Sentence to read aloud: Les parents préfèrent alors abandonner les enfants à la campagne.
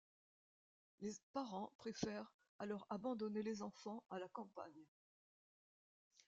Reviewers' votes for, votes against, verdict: 1, 2, rejected